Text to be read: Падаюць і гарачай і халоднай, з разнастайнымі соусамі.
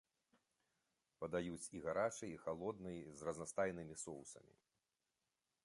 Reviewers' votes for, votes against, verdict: 2, 0, accepted